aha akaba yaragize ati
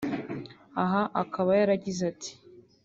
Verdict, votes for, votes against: accepted, 4, 0